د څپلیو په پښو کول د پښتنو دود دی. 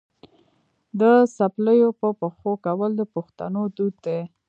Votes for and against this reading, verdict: 2, 0, accepted